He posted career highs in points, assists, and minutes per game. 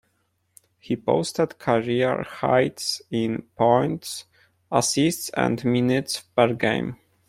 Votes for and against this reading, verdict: 1, 2, rejected